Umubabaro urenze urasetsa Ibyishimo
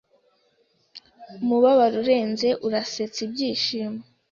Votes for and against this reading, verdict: 2, 0, accepted